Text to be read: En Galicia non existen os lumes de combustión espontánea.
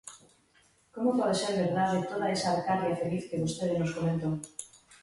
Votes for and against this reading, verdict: 0, 3, rejected